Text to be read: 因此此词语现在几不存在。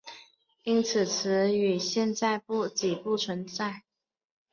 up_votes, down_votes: 2, 1